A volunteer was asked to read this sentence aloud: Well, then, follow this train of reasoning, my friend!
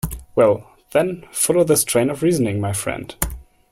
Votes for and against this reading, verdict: 2, 0, accepted